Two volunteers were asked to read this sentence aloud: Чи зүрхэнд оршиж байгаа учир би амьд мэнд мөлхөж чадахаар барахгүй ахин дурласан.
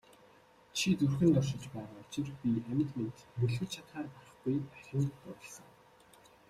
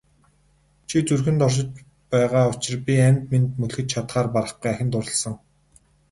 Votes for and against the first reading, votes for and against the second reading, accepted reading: 0, 2, 2, 0, second